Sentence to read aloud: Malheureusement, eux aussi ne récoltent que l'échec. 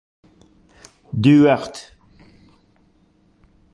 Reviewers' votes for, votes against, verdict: 0, 2, rejected